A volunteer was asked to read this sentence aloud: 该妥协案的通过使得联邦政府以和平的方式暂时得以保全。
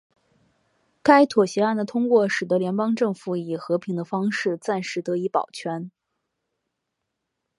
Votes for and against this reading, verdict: 3, 0, accepted